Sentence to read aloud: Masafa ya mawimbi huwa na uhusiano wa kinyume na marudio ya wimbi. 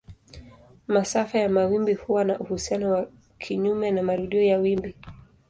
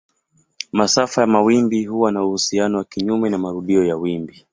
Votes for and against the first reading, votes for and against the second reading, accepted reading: 2, 1, 1, 2, first